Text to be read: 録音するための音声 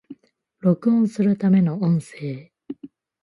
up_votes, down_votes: 2, 0